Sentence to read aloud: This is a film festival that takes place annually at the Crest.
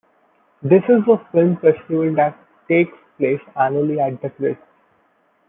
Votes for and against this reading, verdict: 0, 2, rejected